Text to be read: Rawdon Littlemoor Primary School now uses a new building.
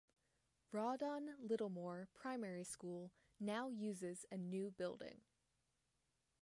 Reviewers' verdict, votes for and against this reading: rejected, 0, 2